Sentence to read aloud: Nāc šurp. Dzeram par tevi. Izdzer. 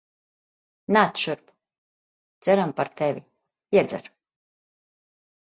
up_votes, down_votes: 1, 2